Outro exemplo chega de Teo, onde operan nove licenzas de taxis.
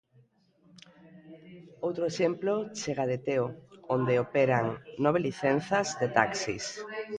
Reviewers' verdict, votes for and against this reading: rejected, 1, 2